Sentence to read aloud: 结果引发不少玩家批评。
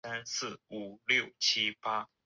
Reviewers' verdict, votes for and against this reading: rejected, 0, 3